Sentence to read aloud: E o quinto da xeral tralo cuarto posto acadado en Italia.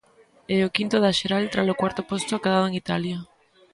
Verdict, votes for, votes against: accepted, 2, 0